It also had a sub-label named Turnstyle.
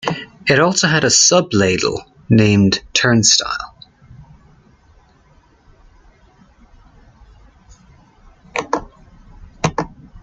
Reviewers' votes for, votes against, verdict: 1, 2, rejected